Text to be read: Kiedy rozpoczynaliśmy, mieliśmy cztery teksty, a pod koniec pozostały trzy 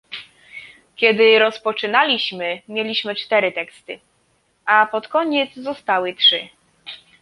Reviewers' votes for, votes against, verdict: 1, 2, rejected